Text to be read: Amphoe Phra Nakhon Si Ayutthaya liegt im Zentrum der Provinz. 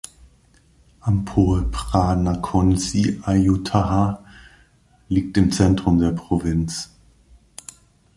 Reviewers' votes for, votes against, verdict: 2, 0, accepted